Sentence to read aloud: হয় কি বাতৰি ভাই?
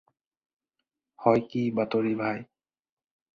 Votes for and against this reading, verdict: 4, 0, accepted